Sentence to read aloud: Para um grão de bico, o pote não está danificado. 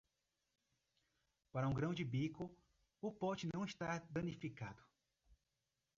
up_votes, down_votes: 2, 0